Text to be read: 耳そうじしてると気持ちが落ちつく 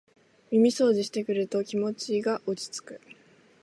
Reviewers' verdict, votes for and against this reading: rejected, 2, 3